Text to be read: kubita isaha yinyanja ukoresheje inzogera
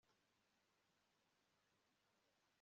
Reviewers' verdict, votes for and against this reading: rejected, 0, 2